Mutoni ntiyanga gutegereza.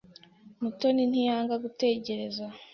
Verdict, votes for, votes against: accepted, 2, 0